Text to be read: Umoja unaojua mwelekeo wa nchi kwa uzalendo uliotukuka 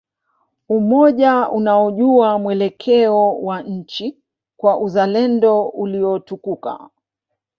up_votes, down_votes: 1, 2